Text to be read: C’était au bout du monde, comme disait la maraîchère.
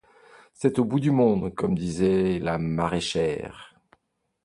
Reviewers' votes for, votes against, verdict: 1, 2, rejected